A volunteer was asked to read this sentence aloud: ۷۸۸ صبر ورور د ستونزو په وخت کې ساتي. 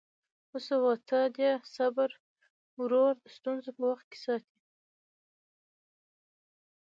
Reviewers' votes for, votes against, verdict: 0, 2, rejected